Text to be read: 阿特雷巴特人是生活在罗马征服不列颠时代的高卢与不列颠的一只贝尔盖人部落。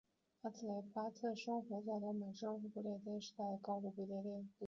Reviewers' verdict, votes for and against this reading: rejected, 3, 4